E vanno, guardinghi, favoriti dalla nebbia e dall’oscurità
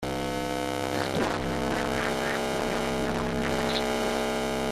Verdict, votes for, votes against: rejected, 0, 2